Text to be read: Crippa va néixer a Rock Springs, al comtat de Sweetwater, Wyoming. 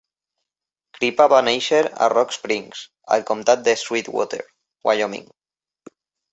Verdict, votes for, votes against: accepted, 2, 0